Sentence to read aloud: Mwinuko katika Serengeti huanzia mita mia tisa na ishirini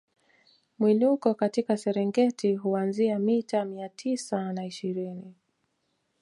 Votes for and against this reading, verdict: 2, 0, accepted